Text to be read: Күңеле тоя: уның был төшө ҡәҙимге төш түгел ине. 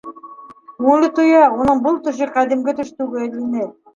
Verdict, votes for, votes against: accepted, 2, 1